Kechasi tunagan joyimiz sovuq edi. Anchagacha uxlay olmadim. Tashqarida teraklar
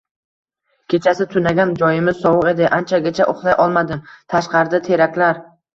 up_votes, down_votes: 1, 2